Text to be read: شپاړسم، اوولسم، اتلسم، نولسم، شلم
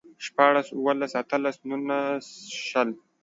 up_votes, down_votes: 0, 2